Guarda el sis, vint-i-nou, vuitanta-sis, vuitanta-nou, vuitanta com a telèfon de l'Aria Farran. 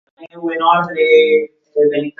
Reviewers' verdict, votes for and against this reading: rejected, 0, 2